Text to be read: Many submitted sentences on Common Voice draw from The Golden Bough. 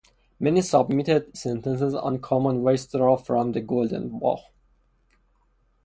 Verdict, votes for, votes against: rejected, 0, 2